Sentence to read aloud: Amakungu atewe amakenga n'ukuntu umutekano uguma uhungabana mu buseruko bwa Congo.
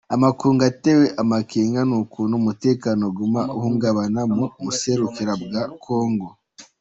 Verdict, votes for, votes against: accepted, 2, 1